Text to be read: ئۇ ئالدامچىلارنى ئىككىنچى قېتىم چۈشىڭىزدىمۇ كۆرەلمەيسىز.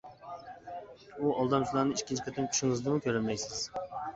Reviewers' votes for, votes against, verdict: 1, 2, rejected